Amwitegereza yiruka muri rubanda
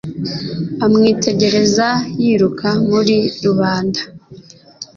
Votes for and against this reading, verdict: 2, 0, accepted